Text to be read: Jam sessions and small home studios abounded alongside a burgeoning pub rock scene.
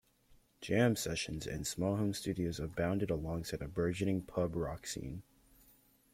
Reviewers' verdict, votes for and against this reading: accepted, 2, 0